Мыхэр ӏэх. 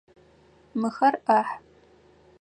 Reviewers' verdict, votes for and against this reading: rejected, 0, 4